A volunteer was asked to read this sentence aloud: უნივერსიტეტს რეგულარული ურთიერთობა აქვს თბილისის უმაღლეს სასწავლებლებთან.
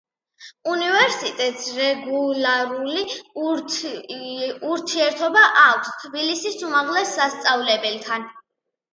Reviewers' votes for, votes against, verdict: 1, 2, rejected